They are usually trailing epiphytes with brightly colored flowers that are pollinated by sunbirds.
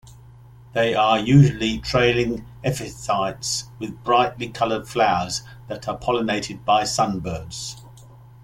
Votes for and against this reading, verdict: 1, 2, rejected